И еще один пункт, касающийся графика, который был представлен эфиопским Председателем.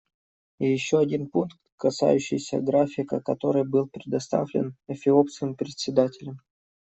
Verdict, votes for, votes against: rejected, 0, 2